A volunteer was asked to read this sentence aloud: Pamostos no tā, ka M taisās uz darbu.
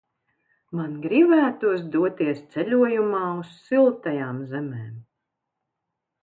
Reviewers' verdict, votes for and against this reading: rejected, 0, 2